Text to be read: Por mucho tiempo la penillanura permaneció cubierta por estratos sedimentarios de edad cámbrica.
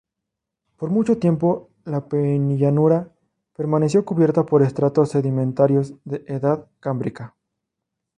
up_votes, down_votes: 0, 2